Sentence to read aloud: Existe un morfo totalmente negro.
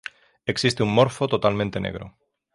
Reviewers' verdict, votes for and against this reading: rejected, 0, 3